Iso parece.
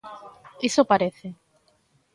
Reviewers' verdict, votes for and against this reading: accepted, 2, 0